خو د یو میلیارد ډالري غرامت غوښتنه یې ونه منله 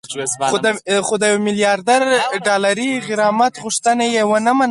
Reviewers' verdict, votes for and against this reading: rejected, 2, 4